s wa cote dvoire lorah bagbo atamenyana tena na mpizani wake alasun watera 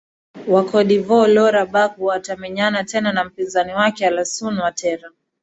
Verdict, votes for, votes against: rejected, 0, 2